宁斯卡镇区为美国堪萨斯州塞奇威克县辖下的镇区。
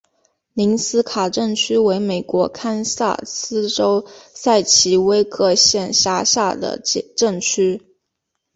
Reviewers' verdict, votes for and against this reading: accepted, 2, 0